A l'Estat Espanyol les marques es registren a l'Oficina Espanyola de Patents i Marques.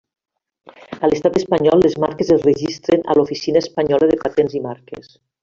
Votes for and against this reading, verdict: 2, 1, accepted